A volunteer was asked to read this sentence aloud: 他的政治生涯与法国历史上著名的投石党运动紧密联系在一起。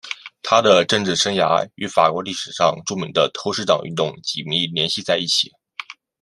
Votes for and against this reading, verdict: 2, 0, accepted